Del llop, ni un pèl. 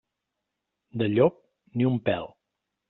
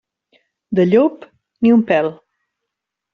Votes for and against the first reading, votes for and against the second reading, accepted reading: 2, 0, 0, 2, first